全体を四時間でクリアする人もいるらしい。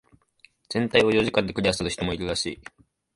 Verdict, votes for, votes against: rejected, 0, 2